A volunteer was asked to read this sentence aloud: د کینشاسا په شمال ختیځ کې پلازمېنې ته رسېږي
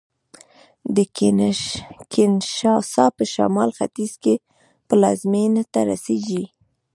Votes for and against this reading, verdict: 1, 2, rejected